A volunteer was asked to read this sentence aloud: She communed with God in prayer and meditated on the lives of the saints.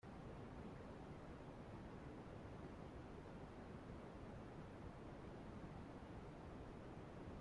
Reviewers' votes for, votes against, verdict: 0, 2, rejected